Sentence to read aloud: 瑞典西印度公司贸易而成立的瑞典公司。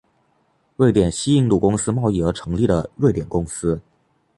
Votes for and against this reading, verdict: 2, 0, accepted